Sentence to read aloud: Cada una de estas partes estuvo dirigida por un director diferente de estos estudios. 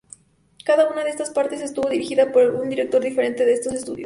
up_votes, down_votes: 0, 2